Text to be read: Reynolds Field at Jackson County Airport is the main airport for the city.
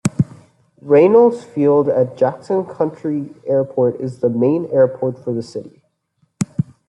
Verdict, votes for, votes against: accepted, 2, 1